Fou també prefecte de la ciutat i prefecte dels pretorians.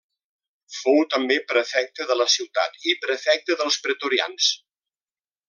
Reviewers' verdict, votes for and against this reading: accepted, 2, 0